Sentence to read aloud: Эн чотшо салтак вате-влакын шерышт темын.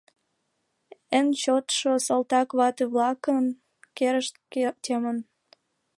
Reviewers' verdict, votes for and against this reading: rejected, 0, 2